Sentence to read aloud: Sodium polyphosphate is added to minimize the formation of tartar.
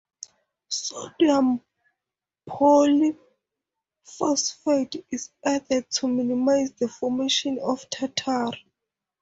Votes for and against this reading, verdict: 0, 2, rejected